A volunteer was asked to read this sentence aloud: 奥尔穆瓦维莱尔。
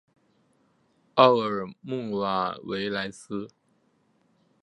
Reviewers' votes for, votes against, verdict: 1, 2, rejected